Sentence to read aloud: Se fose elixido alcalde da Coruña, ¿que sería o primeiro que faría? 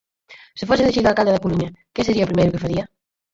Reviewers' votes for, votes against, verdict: 0, 4, rejected